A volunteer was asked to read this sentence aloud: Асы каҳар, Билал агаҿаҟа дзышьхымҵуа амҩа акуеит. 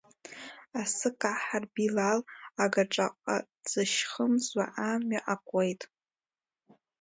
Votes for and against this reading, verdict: 0, 2, rejected